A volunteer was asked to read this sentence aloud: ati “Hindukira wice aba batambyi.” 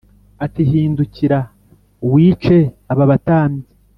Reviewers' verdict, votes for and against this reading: accepted, 3, 0